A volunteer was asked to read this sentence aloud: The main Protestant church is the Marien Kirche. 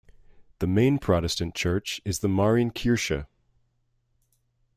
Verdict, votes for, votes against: accepted, 2, 0